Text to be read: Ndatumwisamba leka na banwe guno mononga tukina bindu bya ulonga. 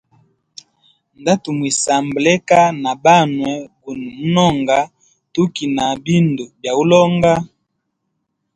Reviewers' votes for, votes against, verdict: 2, 0, accepted